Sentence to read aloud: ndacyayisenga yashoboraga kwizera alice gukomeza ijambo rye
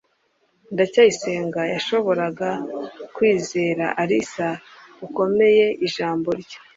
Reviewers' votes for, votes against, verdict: 0, 2, rejected